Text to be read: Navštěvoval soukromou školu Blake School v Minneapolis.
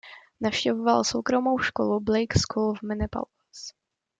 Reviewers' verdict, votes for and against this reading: rejected, 0, 2